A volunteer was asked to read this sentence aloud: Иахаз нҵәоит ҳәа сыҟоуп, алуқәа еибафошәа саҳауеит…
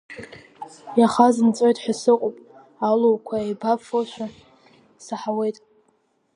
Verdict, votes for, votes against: rejected, 1, 2